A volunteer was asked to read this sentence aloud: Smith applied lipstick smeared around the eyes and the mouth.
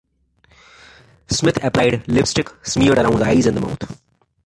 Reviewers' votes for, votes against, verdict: 0, 2, rejected